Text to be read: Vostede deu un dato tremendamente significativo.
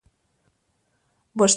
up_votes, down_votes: 0, 2